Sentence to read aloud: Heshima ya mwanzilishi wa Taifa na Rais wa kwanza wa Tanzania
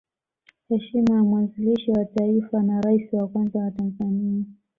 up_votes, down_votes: 1, 2